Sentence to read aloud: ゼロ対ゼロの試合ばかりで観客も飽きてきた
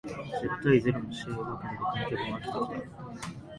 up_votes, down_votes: 1, 2